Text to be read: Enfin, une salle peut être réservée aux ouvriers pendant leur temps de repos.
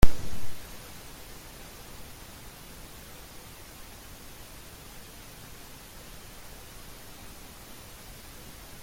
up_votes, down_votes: 0, 2